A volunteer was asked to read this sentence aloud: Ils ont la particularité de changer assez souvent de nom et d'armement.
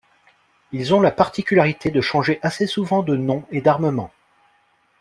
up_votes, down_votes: 2, 0